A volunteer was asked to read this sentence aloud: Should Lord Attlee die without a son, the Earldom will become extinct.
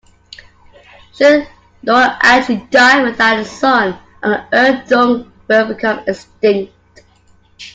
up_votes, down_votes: 0, 2